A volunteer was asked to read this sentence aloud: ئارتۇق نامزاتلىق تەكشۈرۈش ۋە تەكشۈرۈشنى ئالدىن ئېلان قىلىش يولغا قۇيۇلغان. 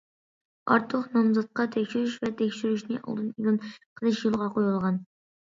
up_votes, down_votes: 0, 2